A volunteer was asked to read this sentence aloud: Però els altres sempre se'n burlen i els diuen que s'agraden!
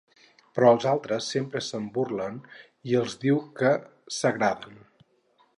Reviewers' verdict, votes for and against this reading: rejected, 0, 2